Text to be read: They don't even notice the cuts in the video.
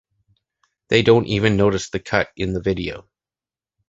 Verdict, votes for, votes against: rejected, 0, 2